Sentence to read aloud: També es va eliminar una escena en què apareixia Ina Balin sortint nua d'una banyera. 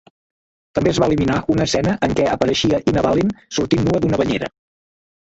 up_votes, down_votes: 0, 2